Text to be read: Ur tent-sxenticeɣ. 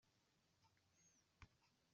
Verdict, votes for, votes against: rejected, 0, 2